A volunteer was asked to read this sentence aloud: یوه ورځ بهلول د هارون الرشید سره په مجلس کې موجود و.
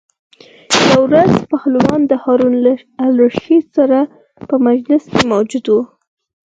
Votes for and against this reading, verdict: 2, 4, rejected